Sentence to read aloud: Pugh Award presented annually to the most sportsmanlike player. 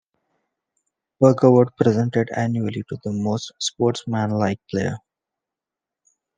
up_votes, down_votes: 2, 1